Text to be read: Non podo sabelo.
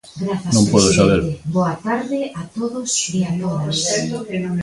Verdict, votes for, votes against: rejected, 1, 2